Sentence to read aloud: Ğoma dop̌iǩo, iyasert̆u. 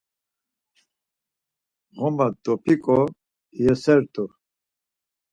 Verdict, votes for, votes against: accepted, 4, 0